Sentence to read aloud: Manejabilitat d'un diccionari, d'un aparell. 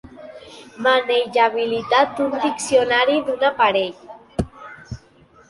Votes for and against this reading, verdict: 4, 2, accepted